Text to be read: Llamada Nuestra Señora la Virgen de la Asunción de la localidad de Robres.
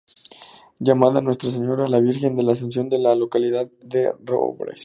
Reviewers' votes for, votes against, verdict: 2, 0, accepted